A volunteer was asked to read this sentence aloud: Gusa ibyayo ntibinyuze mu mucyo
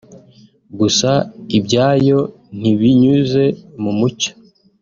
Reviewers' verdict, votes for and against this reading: accepted, 2, 0